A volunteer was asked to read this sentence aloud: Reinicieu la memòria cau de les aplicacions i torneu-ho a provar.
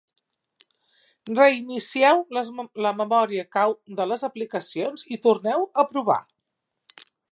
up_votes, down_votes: 0, 2